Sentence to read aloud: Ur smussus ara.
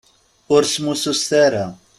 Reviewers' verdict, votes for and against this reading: rejected, 0, 2